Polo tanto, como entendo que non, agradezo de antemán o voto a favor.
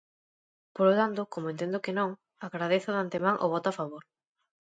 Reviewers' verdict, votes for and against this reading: rejected, 1, 2